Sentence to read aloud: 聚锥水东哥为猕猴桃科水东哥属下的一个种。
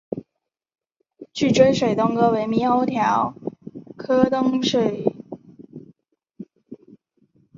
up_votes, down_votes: 1, 4